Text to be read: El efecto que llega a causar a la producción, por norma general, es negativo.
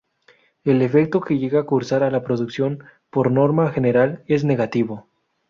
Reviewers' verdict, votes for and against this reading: rejected, 0, 2